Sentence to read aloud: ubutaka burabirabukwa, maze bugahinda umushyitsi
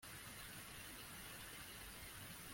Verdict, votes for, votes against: rejected, 0, 2